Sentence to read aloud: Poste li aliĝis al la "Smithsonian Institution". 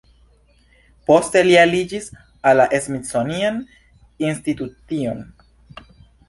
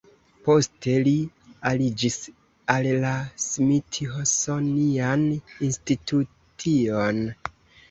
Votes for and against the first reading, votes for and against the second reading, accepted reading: 2, 1, 0, 2, first